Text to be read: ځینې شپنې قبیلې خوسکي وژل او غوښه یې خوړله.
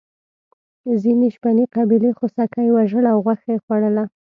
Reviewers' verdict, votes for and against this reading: accepted, 2, 0